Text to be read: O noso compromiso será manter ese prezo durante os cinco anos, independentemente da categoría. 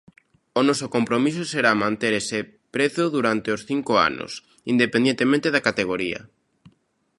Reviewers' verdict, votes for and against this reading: rejected, 0, 2